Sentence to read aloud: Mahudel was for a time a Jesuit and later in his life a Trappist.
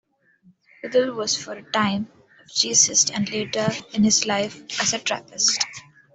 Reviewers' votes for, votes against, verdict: 1, 2, rejected